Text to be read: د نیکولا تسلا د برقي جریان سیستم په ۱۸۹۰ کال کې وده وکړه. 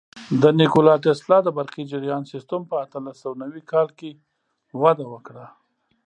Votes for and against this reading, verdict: 0, 2, rejected